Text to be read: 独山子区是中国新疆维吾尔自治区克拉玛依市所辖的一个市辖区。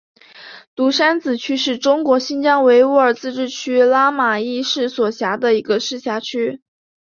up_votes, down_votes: 3, 1